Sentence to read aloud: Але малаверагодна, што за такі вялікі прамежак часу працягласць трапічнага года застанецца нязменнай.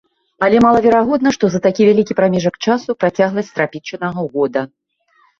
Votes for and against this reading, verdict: 0, 2, rejected